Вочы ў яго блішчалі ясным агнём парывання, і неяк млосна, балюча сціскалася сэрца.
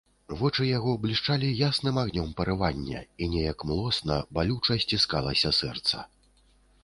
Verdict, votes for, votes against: rejected, 1, 2